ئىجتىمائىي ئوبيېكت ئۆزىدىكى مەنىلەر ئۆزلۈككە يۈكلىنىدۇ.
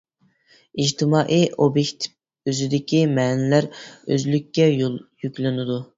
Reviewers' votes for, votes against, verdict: 1, 2, rejected